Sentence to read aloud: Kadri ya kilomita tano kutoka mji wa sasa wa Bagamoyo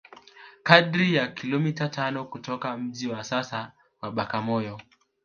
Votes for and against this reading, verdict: 1, 2, rejected